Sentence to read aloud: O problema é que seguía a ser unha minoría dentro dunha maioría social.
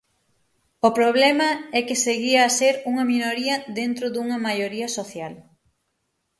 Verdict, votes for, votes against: accepted, 6, 0